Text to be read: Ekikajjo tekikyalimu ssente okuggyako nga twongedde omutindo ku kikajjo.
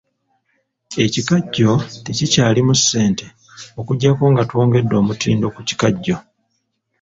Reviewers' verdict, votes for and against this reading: rejected, 1, 2